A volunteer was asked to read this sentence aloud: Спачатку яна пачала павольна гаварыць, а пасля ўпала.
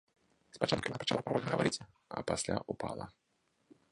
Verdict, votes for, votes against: rejected, 1, 2